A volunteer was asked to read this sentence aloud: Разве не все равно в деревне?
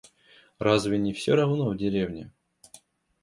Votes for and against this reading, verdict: 2, 0, accepted